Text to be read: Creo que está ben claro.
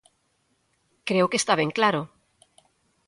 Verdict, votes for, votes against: accepted, 2, 0